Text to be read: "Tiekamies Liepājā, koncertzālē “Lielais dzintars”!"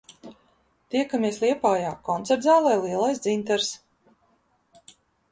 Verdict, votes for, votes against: accepted, 2, 0